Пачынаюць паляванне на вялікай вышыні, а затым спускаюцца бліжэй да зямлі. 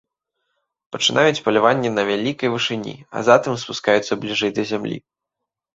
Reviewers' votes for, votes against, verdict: 0, 2, rejected